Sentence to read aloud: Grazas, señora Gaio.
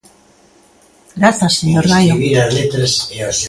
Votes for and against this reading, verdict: 1, 2, rejected